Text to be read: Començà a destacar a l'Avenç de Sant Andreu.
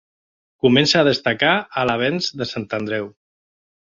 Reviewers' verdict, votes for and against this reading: rejected, 2, 3